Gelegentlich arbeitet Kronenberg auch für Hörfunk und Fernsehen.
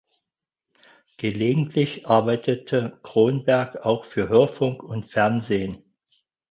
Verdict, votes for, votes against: rejected, 0, 6